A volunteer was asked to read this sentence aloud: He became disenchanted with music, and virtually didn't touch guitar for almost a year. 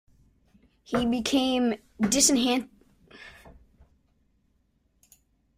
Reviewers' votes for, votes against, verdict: 0, 2, rejected